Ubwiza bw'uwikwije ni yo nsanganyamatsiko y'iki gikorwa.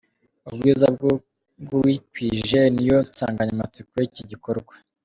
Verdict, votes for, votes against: accepted, 2, 0